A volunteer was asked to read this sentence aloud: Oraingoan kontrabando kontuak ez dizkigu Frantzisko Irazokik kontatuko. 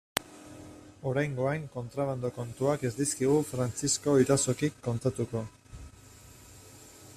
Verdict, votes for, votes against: rejected, 0, 2